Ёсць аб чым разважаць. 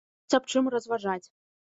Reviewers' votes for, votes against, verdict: 0, 2, rejected